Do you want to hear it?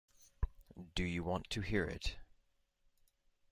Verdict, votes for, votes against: accepted, 2, 0